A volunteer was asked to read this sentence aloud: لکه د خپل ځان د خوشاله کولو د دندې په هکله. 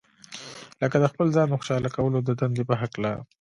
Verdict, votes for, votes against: accepted, 2, 0